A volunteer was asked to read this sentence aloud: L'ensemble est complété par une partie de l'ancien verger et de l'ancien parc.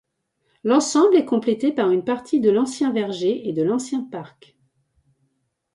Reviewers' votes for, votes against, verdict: 2, 0, accepted